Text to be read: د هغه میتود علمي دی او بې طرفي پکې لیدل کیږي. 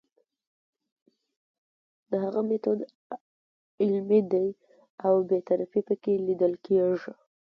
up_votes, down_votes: 1, 2